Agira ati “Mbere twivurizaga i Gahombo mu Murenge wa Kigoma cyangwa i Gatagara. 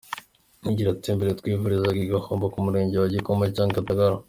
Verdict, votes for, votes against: accepted, 2, 1